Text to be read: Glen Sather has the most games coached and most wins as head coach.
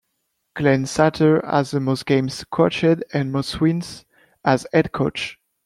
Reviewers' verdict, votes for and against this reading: rejected, 0, 2